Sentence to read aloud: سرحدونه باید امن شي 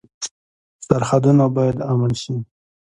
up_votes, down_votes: 2, 0